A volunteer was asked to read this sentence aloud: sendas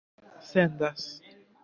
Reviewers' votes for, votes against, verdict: 1, 2, rejected